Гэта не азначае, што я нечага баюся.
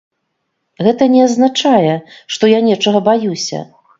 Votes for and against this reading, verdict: 2, 0, accepted